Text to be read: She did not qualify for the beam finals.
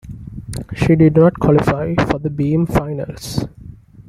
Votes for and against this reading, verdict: 2, 0, accepted